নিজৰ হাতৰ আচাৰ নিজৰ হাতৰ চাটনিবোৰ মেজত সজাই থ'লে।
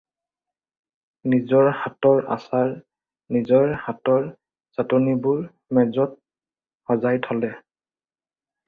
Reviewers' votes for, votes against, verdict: 2, 0, accepted